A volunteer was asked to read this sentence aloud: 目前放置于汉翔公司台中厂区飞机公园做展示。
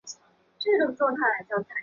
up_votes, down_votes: 1, 2